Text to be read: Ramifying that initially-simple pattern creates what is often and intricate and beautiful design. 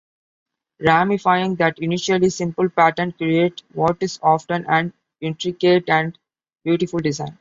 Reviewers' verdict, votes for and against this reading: rejected, 1, 2